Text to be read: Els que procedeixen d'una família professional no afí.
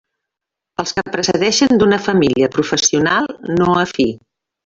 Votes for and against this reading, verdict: 0, 2, rejected